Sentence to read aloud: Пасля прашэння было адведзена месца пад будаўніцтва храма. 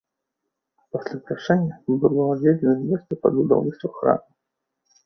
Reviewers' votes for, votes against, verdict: 2, 1, accepted